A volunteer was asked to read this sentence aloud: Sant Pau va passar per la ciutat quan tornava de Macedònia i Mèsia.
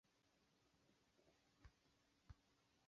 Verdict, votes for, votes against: rejected, 0, 2